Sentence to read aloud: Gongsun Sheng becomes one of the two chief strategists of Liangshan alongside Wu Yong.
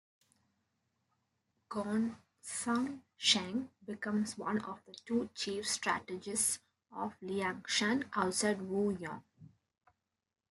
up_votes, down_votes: 2, 0